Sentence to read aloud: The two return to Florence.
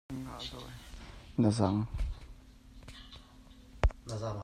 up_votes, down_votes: 1, 2